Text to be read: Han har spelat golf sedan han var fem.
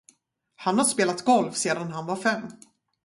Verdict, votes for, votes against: rejected, 0, 4